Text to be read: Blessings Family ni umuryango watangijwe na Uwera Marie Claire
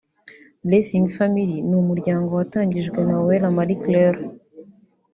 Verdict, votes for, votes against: rejected, 1, 2